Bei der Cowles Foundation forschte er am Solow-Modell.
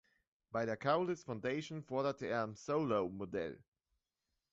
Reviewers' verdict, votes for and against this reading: rejected, 0, 2